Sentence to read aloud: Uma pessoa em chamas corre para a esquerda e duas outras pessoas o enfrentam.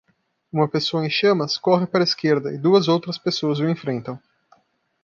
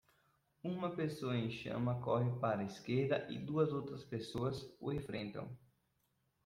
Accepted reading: first